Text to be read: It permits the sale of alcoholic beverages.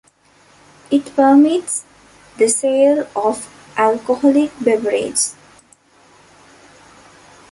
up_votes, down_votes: 1, 2